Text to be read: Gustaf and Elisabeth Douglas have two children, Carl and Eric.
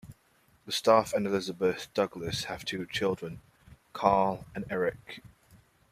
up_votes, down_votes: 2, 0